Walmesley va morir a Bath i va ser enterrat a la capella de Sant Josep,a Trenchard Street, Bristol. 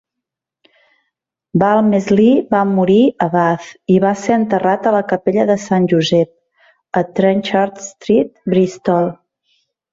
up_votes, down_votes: 2, 0